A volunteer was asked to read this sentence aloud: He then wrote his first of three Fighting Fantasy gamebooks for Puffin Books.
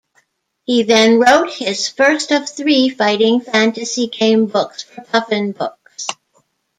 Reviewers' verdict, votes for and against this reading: accepted, 2, 0